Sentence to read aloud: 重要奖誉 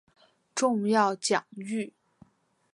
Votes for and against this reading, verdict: 2, 0, accepted